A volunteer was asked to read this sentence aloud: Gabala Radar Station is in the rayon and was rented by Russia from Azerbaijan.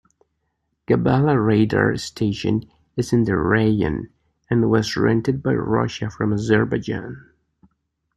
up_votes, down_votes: 2, 0